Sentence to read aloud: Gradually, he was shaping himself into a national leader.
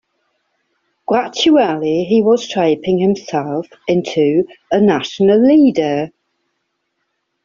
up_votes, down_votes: 2, 0